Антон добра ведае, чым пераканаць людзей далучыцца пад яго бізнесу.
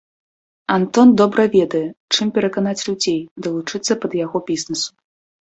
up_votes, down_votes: 2, 0